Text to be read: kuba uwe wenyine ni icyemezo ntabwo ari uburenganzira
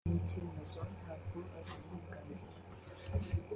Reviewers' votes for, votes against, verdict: 0, 2, rejected